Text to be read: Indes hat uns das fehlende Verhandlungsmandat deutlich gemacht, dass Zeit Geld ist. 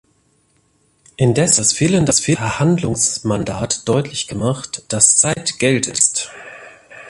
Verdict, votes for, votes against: rejected, 0, 2